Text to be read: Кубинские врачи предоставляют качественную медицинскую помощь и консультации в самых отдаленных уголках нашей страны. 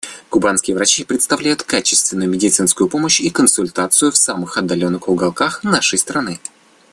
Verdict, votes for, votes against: rejected, 0, 2